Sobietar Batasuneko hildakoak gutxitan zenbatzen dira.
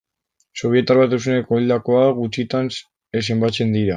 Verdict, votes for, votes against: rejected, 0, 3